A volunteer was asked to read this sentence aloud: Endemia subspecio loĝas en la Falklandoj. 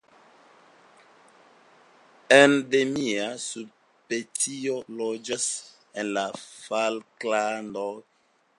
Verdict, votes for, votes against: accepted, 2, 0